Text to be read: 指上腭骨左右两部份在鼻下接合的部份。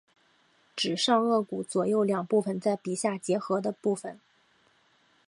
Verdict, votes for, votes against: accepted, 3, 0